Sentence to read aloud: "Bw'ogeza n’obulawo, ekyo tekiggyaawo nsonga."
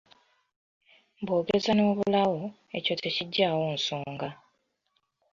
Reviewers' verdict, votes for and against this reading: accepted, 2, 0